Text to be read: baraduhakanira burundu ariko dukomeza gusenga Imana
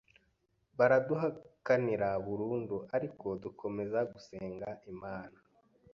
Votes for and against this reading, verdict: 2, 0, accepted